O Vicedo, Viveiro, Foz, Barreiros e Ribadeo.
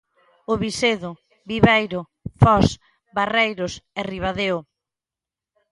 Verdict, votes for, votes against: accepted, 2, 0